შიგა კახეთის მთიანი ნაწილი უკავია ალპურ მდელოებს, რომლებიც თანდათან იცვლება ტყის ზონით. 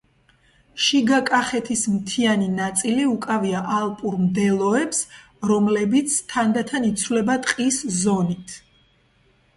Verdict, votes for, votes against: accepted, 2, 0